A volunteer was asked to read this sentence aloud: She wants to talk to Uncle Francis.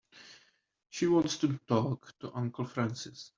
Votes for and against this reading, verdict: 3, 0, accepted